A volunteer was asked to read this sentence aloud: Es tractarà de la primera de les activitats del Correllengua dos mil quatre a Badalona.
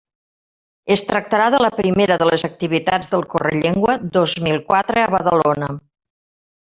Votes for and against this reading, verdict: 6, 3, accepted